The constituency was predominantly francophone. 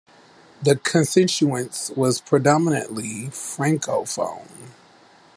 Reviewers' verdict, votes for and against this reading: rejected, 1, 2